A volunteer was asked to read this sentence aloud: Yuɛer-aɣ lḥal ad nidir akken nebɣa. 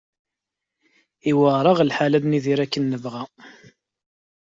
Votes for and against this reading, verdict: 2, 0, accepted